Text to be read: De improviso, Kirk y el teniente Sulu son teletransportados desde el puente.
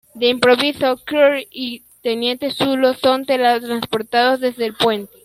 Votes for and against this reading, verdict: 0, 2, rejected